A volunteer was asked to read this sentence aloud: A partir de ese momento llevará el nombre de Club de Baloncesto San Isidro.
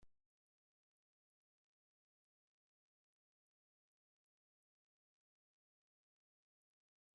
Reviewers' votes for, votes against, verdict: 0, 2, rejected